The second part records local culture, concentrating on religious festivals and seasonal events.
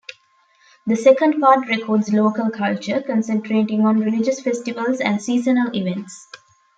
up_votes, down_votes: 2, 1